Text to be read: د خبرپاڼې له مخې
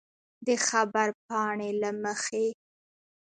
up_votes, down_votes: 0, 2